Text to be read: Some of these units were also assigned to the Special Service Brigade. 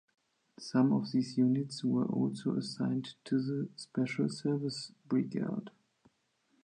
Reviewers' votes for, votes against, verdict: 2, 1, accepted